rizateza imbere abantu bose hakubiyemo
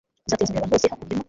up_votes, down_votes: 1, 2